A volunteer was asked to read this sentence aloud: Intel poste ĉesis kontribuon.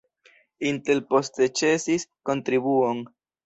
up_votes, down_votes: 1, 2